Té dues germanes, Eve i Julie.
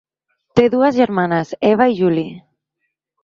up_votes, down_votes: 1, 2